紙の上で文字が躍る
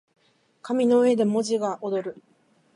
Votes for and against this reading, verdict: 0, 2, rejected